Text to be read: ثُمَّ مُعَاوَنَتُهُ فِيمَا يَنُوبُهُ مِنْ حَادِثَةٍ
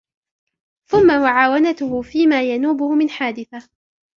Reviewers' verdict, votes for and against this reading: rejected, 0, 2